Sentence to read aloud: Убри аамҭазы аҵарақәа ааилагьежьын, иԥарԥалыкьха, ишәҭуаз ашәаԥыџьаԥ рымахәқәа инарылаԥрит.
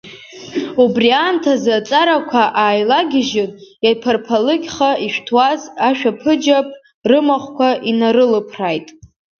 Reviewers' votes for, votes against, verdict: 1, 4, rejected